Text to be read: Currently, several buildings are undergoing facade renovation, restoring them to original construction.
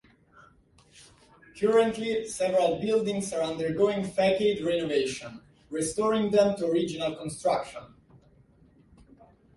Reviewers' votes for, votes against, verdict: 0, 2, rejected